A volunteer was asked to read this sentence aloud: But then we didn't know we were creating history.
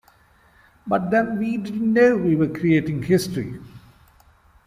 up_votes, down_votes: 1, 2